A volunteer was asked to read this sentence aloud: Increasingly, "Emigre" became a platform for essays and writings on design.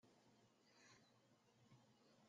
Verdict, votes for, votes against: rejected, 0, 2